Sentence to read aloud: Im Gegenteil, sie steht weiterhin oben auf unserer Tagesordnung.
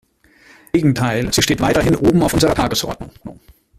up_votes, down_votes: 0, 2